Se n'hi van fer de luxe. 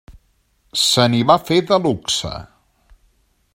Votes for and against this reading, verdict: 1, 2, rejected